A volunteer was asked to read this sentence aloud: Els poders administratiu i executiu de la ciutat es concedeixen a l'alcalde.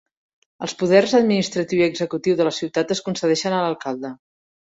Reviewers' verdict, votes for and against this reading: accepted, 3, 0